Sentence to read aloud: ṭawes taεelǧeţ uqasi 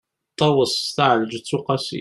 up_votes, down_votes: 2, 0